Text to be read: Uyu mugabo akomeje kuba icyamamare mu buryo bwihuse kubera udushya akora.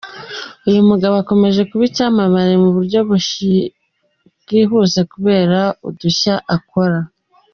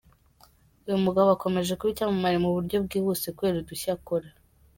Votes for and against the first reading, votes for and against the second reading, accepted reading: 2, 3, 2, 1, second